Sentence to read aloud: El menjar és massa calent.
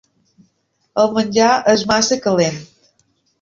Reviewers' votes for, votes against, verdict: 2, 0, accepted